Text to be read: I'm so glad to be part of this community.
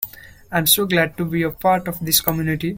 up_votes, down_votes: 0, 2